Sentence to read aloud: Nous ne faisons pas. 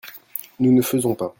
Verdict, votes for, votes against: accepted, 2, 0